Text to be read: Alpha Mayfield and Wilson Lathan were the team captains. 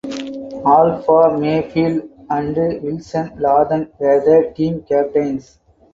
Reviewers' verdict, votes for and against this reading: rejected, 0, 4